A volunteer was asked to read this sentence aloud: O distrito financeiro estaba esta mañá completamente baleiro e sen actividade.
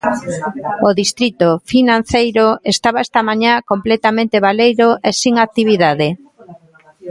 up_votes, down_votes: 1, 2